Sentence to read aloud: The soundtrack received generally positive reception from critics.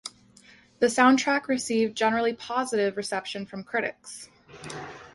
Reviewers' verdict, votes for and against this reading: accepted, 2, 0